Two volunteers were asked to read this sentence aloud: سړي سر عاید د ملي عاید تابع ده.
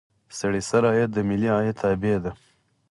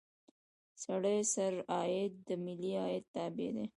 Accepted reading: first